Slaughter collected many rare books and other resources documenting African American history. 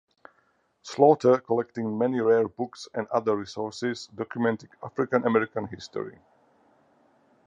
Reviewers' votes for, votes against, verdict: 0, 4, rejected